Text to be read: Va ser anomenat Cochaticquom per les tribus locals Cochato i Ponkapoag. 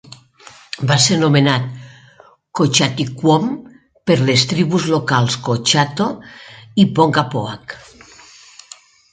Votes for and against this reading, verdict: 2, 0, accepted